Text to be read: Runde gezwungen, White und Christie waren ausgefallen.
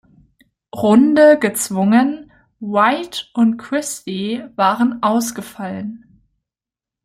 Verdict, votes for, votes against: accepted, 2, 0